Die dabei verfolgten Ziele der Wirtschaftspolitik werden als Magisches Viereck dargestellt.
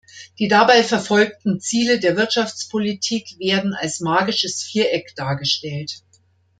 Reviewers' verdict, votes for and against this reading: accepted, 2, 0